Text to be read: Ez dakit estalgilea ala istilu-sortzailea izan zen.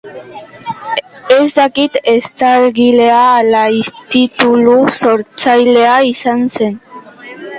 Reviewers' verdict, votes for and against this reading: rejected, 0, 2